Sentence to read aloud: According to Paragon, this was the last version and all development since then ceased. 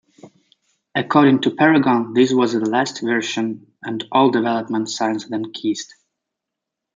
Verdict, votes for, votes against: rejected, 1, 2